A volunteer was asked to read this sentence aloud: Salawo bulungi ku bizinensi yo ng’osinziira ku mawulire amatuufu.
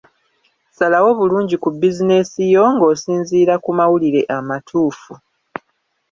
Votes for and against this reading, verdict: 1, 2, rejected